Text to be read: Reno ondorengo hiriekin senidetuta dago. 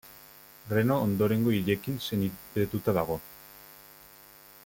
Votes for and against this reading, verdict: 0, 2, rejected